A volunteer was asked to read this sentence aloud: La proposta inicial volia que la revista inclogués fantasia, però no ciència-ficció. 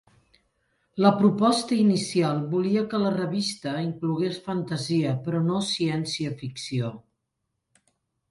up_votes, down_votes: 2, 0